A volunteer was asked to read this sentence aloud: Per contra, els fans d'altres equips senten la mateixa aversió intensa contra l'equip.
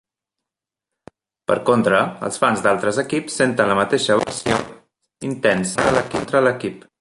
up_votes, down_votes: 1, 3